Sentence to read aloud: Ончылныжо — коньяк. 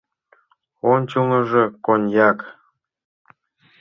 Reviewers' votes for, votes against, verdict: 2, 0, accepted